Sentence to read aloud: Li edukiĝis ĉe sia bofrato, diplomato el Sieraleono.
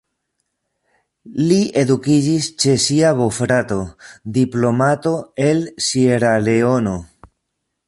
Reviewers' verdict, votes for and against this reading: rejected, 1, 2